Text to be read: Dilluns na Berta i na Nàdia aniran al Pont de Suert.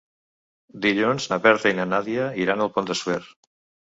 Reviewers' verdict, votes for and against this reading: rejected, 0, 2